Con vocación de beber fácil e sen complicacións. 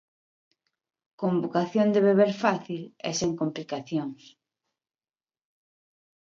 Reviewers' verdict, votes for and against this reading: accepted, 2, 0